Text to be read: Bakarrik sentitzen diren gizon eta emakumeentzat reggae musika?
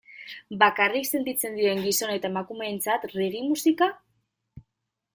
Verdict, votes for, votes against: rejected, 1, 2